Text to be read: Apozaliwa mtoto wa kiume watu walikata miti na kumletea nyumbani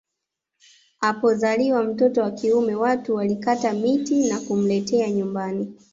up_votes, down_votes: 2, 0